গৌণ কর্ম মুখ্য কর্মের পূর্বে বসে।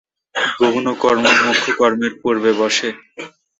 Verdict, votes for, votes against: rejected, 0, 4